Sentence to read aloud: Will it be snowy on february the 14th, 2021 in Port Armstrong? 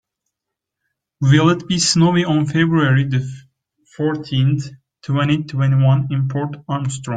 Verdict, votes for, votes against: rejected, 0, 2